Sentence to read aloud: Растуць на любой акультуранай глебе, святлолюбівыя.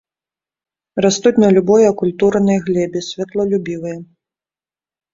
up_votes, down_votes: 2, 0